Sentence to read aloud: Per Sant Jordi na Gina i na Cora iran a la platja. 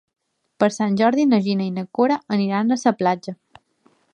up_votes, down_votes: 0, 3